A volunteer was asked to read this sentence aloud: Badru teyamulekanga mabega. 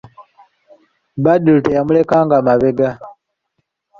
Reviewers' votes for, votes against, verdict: 2, 0, accepted